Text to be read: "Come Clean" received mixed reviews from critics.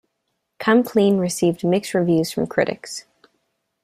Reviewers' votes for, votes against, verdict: 2, 1, accepted